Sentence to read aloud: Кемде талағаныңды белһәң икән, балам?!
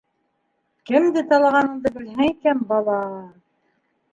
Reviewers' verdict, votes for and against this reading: rejected, 0, 2